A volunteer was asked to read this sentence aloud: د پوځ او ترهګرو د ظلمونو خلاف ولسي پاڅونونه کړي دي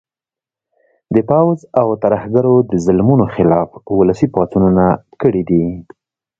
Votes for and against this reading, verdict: 2, 0, accepted